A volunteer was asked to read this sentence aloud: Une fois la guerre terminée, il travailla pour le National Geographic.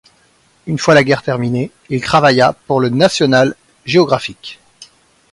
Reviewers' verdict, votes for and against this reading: accepted, 2, 0